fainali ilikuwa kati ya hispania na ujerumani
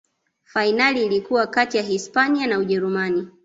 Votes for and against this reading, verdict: 2, 1, accepted